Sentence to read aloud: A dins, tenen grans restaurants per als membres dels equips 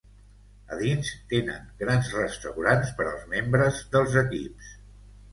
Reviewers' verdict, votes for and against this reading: accepted, 2, 0